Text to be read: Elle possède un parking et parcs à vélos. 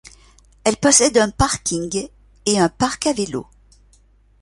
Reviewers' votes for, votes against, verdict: 1, 2, rejected